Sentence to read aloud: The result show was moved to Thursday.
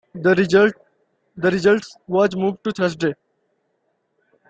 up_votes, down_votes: 0, 2